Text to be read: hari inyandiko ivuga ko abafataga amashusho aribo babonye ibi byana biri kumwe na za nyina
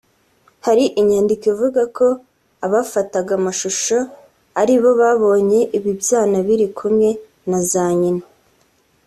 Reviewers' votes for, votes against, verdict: 2, 0, accepted